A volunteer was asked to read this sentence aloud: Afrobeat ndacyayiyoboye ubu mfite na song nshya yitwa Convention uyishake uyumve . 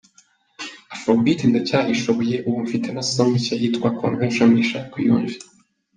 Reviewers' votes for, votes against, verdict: 0, 2, rejected